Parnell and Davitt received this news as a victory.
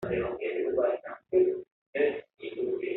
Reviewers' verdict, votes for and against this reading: rejected, 0, 2